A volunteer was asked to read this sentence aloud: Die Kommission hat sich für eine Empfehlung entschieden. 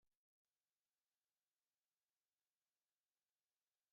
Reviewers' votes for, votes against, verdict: 0, 2, rejected